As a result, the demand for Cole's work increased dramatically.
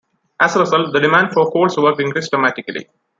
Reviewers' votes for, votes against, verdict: 2, 1, accepted